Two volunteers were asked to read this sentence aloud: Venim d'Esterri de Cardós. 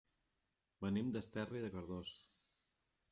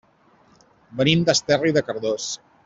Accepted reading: second